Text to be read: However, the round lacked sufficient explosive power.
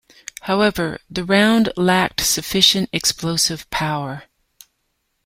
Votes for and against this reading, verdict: 2, 0, accepted